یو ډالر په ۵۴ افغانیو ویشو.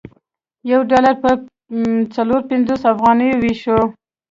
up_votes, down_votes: 0, 2